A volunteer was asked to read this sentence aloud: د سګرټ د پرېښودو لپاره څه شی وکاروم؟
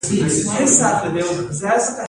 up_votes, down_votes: 0, 2